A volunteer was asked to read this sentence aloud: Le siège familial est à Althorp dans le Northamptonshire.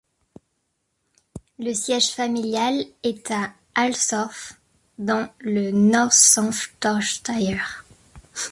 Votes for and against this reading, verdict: 1, 2, rejected